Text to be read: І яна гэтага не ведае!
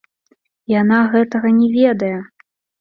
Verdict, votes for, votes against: rejected, 1, 2